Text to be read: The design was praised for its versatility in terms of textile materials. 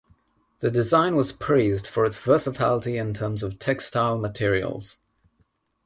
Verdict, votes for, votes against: accepted, 6, 0